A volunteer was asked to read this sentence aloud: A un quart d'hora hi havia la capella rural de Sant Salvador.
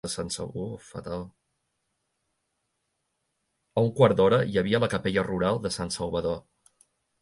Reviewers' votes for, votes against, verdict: 0, 2, rejected